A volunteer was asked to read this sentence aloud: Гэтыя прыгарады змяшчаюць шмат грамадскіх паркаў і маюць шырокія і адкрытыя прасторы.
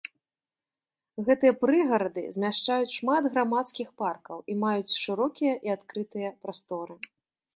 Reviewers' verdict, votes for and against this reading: accepted, 3, 0